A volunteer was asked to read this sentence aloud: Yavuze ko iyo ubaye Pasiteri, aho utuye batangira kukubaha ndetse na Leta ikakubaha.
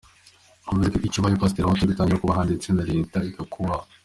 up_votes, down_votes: 1, 2